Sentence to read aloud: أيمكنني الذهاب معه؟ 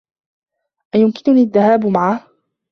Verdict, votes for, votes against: rejected, 1, 2